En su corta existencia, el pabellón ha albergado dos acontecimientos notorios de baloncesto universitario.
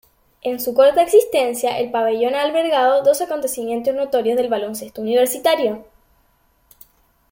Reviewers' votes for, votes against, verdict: 2, 1, accepted